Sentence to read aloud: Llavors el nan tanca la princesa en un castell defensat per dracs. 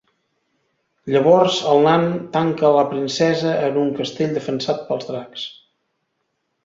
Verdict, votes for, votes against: rejected, 0, 2